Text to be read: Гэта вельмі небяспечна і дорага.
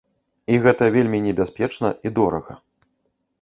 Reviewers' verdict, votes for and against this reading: rejected, 0, 2